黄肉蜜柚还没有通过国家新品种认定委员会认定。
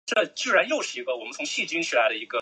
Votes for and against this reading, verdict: 0, 2, rejected